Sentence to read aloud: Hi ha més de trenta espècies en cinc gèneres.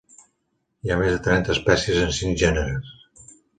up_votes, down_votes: 2, 0